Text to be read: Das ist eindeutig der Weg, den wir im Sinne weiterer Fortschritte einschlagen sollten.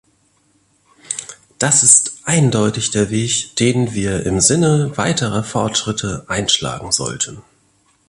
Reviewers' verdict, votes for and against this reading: accepted, 2, 0